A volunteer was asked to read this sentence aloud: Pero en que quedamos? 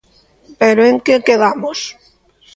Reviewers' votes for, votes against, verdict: 2, 0, accepted